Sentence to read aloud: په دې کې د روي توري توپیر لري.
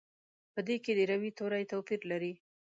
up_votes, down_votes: 2, 0